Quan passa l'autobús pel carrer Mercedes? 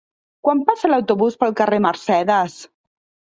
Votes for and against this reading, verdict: 3, 0, accepted